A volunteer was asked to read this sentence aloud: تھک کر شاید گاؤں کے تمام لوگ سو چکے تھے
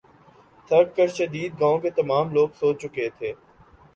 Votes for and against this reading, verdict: 1, 3, rejected